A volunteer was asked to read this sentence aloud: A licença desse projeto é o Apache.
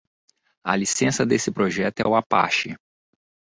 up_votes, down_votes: 2, 0